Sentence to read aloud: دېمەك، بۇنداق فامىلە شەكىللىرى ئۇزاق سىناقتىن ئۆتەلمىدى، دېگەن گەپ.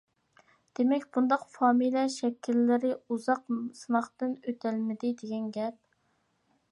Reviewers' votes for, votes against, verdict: 2, 0, accepted